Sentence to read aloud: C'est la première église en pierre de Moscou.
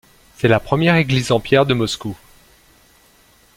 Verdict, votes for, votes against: accepted, 2, 0